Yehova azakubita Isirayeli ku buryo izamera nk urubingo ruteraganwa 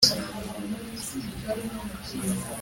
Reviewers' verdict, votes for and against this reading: rejected, 1, 2